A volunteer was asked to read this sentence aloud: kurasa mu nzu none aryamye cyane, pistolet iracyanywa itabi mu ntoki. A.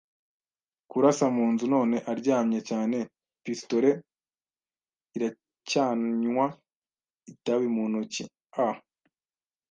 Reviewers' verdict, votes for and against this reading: accepted, 2, 0